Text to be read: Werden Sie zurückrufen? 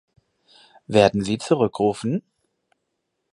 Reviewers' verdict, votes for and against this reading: accepted, 4, 0